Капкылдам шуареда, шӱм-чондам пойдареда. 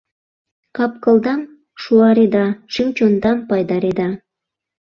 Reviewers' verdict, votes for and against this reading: rejected, 0, 2